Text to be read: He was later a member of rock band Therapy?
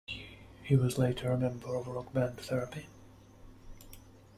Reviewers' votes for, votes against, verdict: 2, 1, accepted